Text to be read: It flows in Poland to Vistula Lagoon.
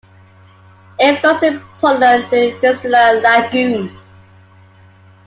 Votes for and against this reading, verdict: 0, 2, rejected